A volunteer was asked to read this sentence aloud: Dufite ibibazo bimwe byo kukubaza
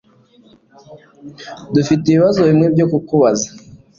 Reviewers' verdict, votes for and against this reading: accepted, 2, 0